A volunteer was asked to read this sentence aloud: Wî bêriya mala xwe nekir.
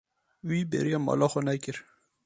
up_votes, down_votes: 2, 0